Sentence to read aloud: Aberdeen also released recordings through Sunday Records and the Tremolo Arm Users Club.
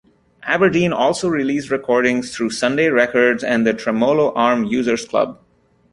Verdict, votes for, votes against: accepted, 2, 0